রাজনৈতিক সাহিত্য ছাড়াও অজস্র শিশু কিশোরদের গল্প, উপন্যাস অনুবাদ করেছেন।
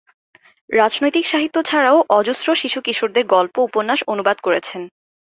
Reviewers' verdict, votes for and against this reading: accepted, 7, 1